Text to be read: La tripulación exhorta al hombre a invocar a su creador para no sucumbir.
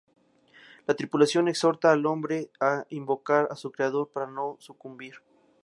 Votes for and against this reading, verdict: 2, 0, accepted